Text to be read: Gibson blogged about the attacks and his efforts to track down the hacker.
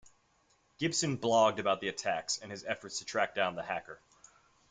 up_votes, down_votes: 2, 0